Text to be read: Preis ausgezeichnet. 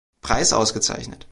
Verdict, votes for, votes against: accepted, 2, 0